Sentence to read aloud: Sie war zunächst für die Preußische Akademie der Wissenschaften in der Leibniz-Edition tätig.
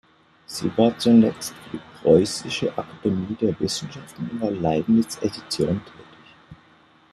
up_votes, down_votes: 0, 2